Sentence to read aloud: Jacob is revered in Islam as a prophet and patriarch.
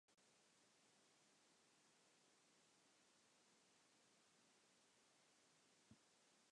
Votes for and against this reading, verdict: 1, 2, rejected